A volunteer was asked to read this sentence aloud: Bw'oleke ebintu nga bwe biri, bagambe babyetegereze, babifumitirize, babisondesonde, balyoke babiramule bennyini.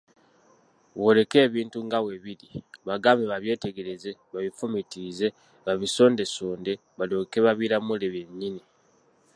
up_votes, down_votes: 2, 1